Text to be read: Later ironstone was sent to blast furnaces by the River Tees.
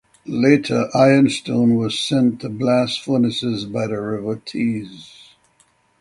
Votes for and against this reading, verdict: 6, 0, accepted